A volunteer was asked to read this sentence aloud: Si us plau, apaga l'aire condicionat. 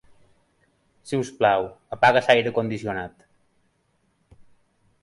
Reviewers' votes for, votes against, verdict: 3, 2, accepted